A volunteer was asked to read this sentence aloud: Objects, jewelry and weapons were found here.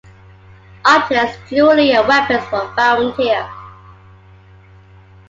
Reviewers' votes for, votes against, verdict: 2, 0, accepted